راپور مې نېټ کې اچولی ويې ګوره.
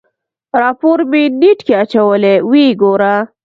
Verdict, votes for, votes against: accepted, 2, 1